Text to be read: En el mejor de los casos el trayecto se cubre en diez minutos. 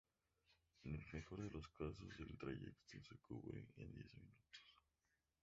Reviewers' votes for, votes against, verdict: 0, 2, rejected